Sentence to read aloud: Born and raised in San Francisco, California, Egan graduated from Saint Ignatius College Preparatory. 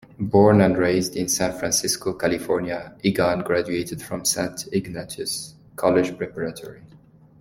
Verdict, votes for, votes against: accepted, 3, 0